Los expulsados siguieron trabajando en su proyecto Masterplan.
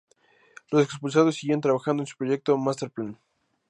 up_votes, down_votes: 2, 2